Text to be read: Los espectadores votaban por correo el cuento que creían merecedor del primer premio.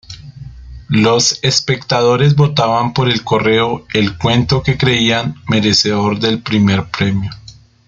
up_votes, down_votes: 0, 2